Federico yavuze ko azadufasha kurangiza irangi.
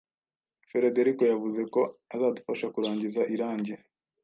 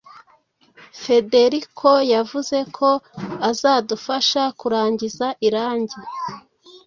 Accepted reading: second